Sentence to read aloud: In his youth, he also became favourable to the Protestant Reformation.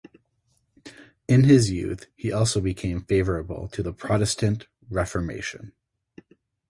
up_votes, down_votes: 6, 0